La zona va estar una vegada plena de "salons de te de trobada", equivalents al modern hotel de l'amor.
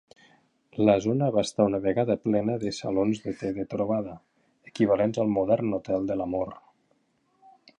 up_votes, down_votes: 5, 1